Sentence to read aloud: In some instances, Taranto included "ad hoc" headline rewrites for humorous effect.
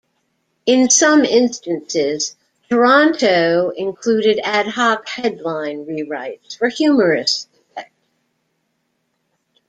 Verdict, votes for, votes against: rejected, 1, 2